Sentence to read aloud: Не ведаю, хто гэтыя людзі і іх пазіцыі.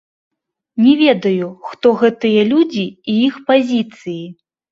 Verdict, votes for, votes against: rejected, 0, 2